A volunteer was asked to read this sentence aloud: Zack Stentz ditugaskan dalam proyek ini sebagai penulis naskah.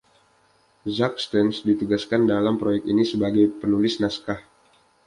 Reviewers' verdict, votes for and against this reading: accepted, 2, 0